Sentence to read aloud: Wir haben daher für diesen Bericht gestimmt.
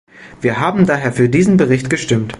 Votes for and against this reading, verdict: 2, 0, accepted